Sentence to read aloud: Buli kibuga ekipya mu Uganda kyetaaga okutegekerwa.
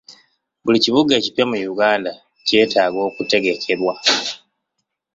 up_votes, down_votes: 2, 0